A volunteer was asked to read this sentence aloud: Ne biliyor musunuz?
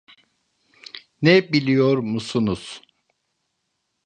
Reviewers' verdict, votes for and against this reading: accepted, 2, 0